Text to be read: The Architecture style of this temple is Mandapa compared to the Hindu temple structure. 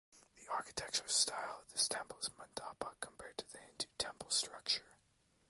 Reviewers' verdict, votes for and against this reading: accepted, 2, 0